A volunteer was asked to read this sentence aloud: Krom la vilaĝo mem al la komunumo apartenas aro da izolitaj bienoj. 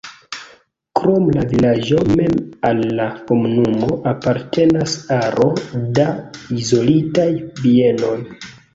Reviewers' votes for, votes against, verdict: 2, 0, accepted